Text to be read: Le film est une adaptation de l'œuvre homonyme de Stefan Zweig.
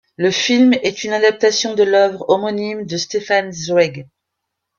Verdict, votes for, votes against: accepted, 2, 0